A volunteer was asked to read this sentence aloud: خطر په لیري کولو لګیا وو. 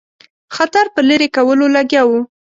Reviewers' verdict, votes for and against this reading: accepted, 8, 0